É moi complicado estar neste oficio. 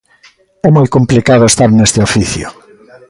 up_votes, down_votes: 2, 0